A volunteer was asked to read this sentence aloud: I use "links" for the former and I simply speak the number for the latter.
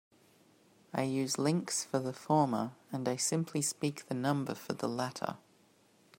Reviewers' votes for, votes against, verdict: 2, 0, accepted